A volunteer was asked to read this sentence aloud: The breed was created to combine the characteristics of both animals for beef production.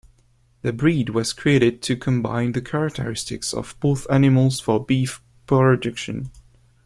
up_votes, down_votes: 0, 2